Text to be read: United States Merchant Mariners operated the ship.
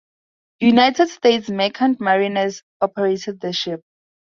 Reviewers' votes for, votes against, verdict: 2, 0, accepted